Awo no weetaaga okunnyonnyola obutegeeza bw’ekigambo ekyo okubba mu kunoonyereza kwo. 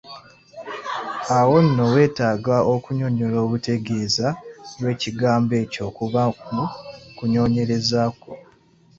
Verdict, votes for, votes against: accepted, 2, 0